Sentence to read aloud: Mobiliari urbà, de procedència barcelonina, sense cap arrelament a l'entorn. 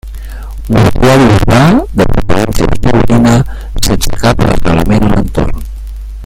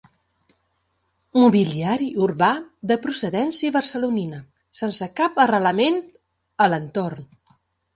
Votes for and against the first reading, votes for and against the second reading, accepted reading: 0, 2, 2, 0, second